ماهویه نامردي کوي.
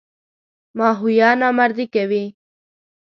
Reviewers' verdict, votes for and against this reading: accepted, 2, 0